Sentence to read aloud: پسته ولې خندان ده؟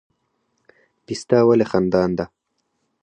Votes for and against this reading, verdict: 4, 0, accepted